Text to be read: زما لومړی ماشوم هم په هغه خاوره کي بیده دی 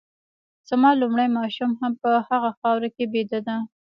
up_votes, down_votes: 1, 2